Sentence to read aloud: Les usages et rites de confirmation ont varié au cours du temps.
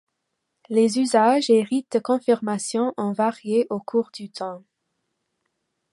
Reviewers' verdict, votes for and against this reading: accepted, 2, 0